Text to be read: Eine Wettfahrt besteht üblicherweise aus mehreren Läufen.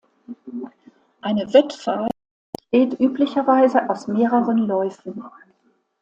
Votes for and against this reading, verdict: 1, 2, rejected